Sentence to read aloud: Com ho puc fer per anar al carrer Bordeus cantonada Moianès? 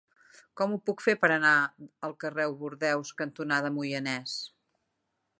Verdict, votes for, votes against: rejected, 1, 2